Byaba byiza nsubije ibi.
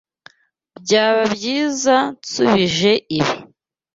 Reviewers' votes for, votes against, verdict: 2, 0, accepted